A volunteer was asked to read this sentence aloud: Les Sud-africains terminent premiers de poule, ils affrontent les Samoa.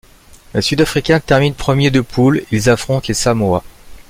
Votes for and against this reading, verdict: 2, 0, accepted